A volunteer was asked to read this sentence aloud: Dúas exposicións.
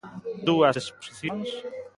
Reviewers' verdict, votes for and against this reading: accepted, 2, 1